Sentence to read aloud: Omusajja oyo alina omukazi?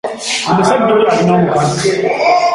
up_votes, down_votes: 1, 2